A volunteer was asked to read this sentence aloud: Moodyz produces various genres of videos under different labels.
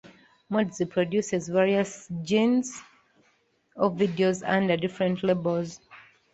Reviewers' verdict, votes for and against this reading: rejected, 0, 2